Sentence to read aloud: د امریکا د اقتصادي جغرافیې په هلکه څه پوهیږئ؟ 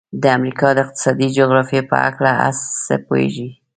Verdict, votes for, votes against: rejected, 1, 2